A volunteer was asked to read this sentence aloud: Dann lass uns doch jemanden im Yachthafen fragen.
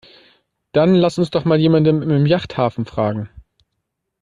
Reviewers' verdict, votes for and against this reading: accepted, 2, 1